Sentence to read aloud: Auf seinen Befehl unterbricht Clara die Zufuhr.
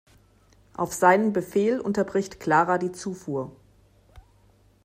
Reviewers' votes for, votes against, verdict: 2, 0, accepted